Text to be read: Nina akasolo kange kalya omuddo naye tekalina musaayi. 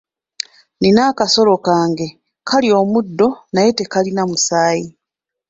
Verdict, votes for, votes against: accepted, 2, 0